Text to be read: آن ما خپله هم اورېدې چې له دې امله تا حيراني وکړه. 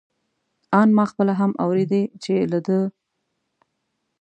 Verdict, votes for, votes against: rejected, 0, 2